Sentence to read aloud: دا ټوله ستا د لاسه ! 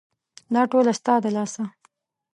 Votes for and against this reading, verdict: 2, 0, accepted